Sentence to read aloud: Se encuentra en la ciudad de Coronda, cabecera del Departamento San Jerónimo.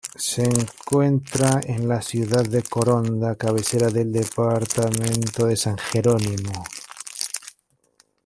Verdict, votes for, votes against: rejected, 0, 2